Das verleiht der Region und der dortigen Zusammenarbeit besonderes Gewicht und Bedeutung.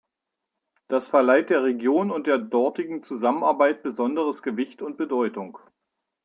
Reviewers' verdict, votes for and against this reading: accepted, 2, 0